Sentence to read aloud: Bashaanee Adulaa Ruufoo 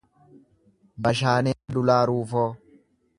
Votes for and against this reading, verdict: 0, 2, rejected